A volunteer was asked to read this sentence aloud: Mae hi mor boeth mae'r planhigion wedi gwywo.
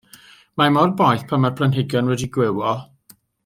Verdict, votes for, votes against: rejected, 1, 2